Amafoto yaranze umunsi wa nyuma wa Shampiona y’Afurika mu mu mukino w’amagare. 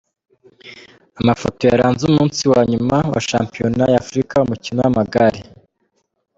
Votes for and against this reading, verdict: 0, 2, rejected